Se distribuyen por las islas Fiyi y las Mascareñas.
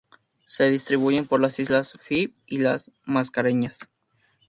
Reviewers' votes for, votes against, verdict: 4, 0, accepted